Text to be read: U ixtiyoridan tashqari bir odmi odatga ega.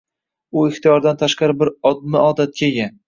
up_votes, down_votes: 1, 2